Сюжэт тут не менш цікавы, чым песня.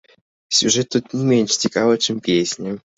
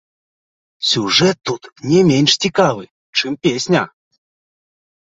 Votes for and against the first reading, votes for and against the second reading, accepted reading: 0, 2, 2, 1, second